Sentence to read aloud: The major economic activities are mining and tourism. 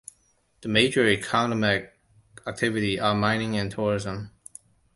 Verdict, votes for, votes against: rejected, 1, 2